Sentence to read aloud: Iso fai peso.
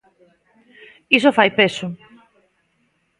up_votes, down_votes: 2, 1